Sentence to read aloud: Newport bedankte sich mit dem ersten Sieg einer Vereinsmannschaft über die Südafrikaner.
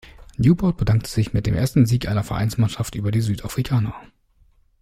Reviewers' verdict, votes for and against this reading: accepted, 2, 0